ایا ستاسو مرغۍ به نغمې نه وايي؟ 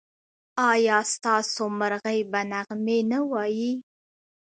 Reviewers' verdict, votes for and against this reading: accepted, 2, 0